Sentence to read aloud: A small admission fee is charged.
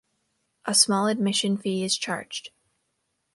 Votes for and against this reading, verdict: 2, 0, accepted